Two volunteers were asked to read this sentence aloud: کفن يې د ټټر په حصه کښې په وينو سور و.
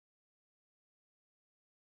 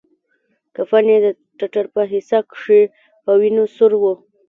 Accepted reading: second